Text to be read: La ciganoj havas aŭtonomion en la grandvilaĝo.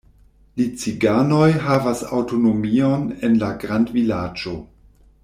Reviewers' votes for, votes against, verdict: 1, 2, rejected